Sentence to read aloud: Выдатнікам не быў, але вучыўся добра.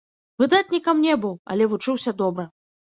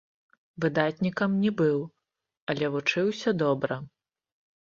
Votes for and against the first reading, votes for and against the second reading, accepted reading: 3, 2, 1, 2, first